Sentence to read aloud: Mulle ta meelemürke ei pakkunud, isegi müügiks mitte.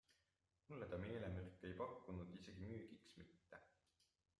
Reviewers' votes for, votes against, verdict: 2, 0, accepted